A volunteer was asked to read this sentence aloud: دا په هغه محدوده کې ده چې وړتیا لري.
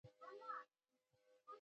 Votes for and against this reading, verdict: 0, 2, rejected